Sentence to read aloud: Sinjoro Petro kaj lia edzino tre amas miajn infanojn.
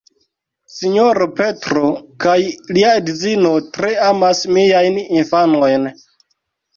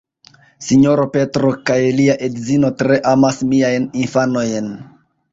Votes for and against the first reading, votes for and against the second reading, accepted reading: 2, 0, 1, 2, first